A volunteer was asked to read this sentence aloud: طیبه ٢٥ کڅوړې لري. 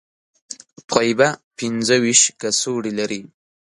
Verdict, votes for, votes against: rejected, 0, 2